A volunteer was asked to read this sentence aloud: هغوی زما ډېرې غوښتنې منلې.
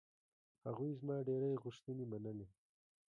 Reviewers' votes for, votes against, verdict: 2, 0, accepted